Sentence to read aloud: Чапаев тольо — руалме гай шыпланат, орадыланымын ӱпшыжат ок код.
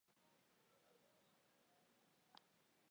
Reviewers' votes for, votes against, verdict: 0, 2, rejected